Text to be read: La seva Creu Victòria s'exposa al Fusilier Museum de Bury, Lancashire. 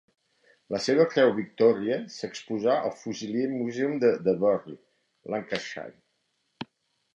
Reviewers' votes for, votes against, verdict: 1, 2, rejected